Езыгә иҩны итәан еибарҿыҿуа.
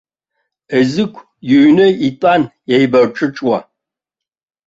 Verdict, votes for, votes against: accepted, 2, 0